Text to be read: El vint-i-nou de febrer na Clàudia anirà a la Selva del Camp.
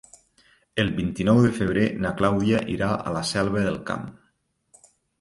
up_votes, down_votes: 0, 2